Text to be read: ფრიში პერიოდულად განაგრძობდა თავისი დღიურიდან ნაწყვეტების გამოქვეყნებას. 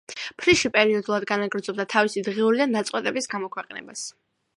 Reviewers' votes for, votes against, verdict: 2, 1, accepted